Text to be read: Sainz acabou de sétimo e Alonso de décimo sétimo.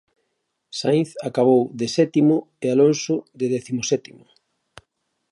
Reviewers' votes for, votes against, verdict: 2, 0, accepted